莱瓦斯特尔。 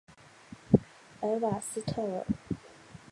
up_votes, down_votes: 4, 0